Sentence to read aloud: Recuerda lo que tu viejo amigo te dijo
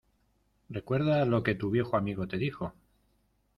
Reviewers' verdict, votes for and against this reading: accepted, 2, 0